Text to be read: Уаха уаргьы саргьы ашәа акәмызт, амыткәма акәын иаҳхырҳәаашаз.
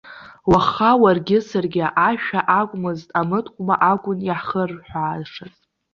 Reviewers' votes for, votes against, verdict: 2, 0, accepted